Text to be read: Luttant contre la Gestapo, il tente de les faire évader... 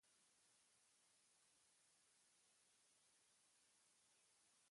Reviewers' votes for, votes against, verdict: 0, 2, rejected